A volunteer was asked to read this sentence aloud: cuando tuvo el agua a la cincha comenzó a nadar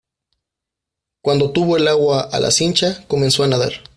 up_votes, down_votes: 2, 0